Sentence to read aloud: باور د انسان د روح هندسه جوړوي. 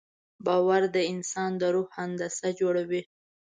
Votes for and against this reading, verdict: 2, 0, accepted